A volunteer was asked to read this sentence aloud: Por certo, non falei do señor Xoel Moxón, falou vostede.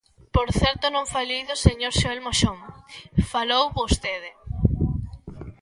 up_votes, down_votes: 2, 0